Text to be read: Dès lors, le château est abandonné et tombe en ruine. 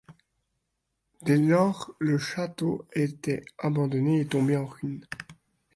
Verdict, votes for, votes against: rejected, 1, 2